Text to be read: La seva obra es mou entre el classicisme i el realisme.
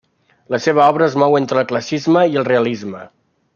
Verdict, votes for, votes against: rejected, 1, 2